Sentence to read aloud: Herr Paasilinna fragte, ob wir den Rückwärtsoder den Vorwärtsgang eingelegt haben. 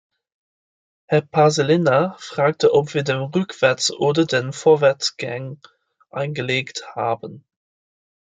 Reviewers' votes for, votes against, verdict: 1, 2, rejected